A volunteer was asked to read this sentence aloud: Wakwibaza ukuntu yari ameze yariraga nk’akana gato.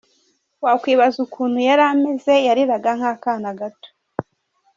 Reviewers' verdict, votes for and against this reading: rejected, 1, 2